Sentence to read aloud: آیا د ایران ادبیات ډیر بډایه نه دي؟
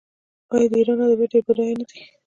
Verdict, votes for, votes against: rejected, 0, 2